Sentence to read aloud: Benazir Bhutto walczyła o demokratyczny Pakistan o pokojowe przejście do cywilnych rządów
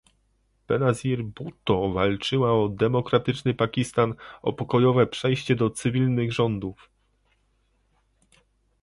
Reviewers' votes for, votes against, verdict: 2, 0, accepted